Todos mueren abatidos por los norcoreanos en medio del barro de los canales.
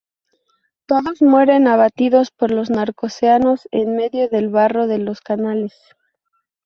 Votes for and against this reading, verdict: 0, 4, rejected